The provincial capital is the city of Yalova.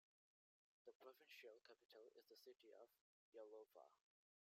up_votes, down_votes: 0, 2